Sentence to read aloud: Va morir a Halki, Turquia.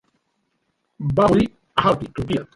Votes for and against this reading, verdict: 0, 2, rejected